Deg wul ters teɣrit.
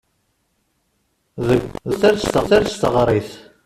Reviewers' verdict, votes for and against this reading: rejected, 0, 2